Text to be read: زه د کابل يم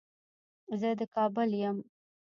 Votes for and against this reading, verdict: 1, 2, rejected